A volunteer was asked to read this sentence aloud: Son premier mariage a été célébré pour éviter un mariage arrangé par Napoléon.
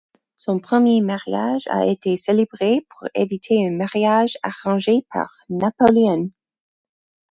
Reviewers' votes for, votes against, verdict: 2, 4, rejected